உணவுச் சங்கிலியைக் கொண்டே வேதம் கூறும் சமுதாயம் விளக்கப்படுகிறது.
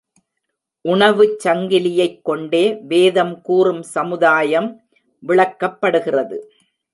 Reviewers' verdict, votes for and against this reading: accepted, 2, 0